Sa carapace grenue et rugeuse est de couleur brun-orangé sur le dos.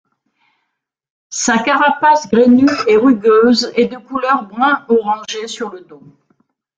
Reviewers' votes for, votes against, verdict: 0, 2, rejected